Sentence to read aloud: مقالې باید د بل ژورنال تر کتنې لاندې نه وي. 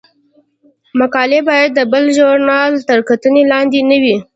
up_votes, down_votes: 2, 0